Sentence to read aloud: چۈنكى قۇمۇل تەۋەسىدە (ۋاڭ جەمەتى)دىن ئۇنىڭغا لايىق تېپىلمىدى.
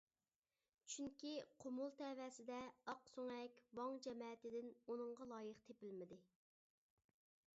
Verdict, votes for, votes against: accepted, 2, 0